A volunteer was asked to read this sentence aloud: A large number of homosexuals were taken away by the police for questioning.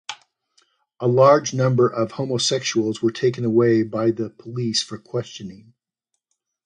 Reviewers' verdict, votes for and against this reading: accepted, 2, 0